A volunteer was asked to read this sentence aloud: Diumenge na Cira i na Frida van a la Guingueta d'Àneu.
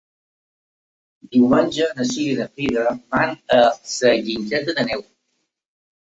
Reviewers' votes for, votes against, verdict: 0, 2, rejected